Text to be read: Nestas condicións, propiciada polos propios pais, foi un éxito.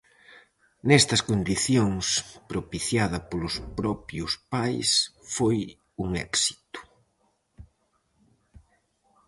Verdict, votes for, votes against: accepted, 4, 0